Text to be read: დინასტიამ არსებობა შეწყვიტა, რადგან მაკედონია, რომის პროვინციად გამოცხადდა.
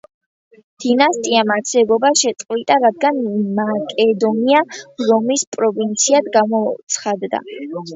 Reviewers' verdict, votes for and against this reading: accepted, 2, 0